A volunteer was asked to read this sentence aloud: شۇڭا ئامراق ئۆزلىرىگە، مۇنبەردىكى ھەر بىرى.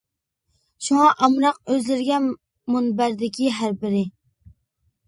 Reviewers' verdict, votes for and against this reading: accepted, 2, 0